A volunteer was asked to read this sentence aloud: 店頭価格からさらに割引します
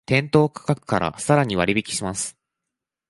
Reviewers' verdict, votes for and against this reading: accepted, 2, 0